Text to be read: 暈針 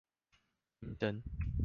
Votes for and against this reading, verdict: 1, 2, rejected